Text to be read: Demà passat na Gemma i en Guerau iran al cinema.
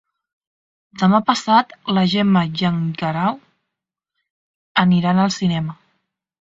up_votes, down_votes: 0, 2